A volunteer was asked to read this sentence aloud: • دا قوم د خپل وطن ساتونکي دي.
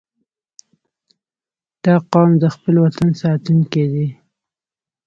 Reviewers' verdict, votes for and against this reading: accepted, 3, 0